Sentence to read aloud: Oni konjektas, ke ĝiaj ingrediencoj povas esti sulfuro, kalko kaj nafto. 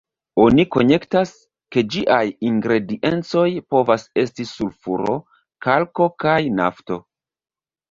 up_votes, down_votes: 1, 2